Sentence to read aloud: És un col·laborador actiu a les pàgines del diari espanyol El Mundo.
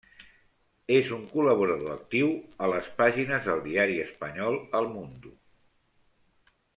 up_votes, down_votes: 1, 2